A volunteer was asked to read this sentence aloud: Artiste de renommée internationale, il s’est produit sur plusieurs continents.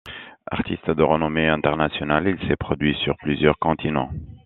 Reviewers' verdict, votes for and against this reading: accepted, 2, 0